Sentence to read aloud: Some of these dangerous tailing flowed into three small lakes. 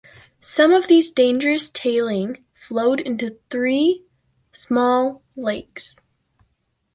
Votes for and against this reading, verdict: 2, 0, accepted